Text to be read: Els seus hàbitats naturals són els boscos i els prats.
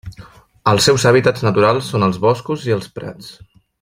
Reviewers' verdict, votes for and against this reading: accepted, 3, 1